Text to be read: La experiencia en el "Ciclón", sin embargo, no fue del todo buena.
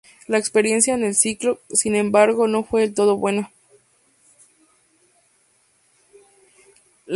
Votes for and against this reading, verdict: 0, 2, rejected